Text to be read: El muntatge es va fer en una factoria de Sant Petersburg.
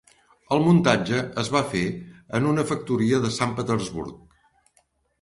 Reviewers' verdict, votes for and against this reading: accepted, 3, 0